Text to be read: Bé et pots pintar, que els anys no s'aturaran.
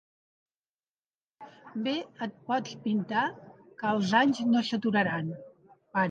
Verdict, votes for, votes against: rejected, 1, 2